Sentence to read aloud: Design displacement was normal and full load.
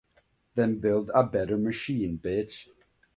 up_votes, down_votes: 0, 3